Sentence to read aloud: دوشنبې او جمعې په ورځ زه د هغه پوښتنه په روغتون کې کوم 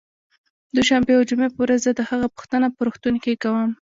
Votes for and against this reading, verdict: 2, 0, accepted